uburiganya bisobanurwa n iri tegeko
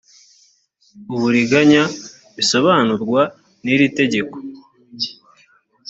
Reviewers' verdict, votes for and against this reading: accepted, 2, 0